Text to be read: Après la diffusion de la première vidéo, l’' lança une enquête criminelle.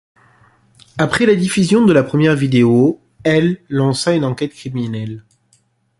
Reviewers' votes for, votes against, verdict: 2, 0, accepted